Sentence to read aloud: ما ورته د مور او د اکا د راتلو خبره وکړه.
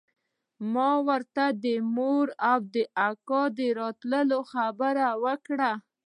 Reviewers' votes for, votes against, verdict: 2, 0, accepted